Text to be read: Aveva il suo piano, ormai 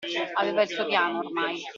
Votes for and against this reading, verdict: 0, 2, rejected